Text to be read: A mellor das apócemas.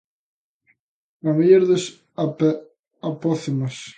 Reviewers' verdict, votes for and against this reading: rejected, 0, 3